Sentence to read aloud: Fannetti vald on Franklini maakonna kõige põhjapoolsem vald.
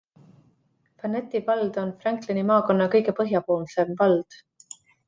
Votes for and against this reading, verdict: 2, 0, accepted